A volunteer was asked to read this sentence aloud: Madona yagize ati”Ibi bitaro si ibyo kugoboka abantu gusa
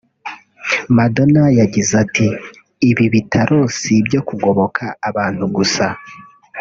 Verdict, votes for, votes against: rejected, 1, 2